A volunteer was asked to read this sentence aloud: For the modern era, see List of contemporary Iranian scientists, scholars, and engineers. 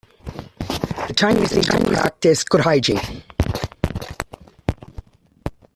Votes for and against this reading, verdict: 0, 2, rejected